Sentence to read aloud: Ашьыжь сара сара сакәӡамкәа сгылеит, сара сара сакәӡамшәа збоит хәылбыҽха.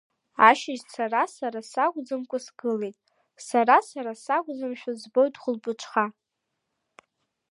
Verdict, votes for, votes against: accepted, 2, 0